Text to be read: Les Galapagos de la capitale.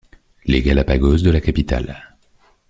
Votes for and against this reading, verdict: 2, 0, accepted